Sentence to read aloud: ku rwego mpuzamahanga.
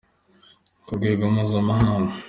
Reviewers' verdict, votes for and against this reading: accepted, 2, 0